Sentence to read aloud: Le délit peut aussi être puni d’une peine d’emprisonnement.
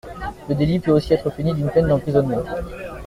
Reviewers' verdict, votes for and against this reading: rejected, 1, 2